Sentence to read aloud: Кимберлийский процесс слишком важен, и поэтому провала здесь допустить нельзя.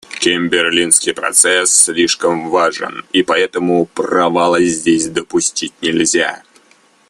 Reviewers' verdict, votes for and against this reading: accepted, 2, 0